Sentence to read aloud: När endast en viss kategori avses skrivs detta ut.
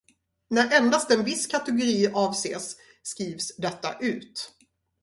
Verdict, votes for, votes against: accepted, 2, 0